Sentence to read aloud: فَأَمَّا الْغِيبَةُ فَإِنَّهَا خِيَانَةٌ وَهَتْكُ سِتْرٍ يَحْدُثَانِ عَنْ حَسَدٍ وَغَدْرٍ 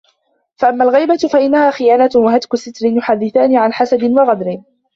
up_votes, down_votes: 0, 2